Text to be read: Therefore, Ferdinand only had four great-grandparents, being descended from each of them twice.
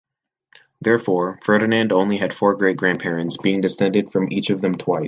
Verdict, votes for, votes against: rejected, 1, 2